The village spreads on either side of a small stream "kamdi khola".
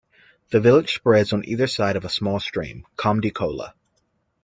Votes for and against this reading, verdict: 2, 0, accepted